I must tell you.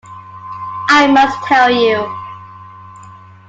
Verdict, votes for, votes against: accepted, 2, 0